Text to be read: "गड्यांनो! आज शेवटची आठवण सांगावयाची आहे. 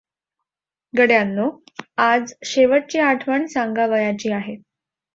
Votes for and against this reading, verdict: 2, 0, accepted